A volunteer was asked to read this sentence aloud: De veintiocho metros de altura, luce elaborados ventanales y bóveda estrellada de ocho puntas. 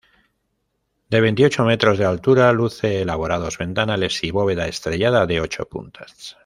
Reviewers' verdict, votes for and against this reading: rejected, 1, 2